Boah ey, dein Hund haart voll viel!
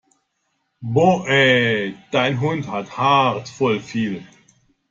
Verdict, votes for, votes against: rejected, 1, 2